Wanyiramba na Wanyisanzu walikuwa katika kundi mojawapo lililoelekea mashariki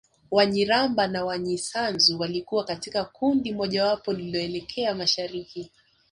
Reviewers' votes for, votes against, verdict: 2, 0, accepted